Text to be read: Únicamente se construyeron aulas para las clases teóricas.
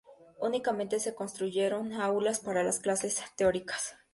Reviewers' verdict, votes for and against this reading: accepted, 2, 0